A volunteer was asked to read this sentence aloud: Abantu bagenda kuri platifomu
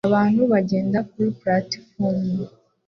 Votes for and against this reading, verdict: 2, 0, accepted